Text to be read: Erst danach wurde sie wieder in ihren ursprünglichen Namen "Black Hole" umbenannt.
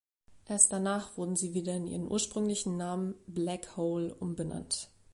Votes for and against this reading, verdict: 0, 2, rejected